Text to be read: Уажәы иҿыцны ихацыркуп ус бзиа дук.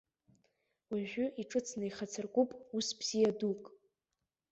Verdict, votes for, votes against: rejected, 1, 2